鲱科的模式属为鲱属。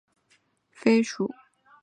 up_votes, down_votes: 0, 2